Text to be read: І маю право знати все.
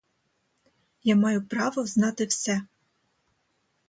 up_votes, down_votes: 0, 2